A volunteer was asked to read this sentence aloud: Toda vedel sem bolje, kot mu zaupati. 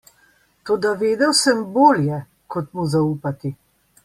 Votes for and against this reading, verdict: 2, 0, accepted